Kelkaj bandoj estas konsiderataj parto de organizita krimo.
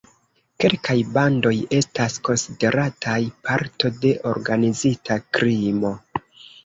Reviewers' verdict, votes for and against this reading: rejected, 0, 2